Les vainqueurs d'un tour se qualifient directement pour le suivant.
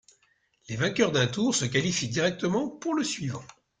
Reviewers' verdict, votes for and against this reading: accepted, 2, 0